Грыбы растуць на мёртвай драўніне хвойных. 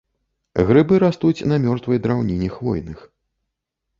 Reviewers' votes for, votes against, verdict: 2, 0, accepted